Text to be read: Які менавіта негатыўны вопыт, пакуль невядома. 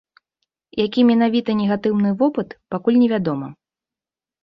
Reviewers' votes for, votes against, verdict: 3, 1, accepted